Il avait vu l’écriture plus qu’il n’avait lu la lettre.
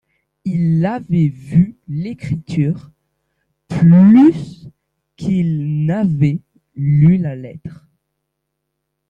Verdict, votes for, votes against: rejected, 1, 2